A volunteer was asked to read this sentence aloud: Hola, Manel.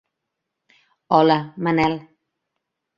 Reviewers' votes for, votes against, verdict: 3, 0, accepted